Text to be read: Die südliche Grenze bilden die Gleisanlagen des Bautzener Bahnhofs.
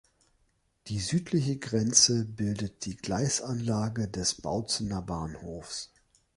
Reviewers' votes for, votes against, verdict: 0, 2, rejected